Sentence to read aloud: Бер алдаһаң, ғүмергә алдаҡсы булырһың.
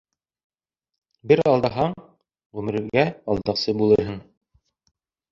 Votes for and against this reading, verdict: 2, 1, accepted